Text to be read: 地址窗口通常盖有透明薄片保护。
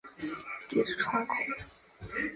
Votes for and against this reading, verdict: 0, 2, rejected